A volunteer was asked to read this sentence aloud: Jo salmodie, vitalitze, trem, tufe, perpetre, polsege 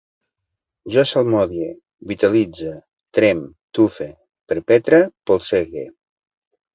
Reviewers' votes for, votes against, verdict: 2, 0, accepted